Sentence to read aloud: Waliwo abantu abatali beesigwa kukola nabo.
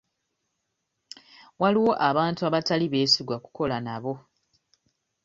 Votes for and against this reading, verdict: 2, 0, accepted